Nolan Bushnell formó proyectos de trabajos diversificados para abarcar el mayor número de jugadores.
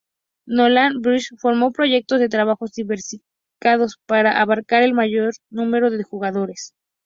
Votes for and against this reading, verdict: 0, 2, rejected